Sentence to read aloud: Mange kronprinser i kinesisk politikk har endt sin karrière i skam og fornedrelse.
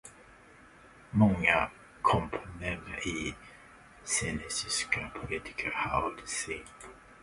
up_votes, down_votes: 0, 2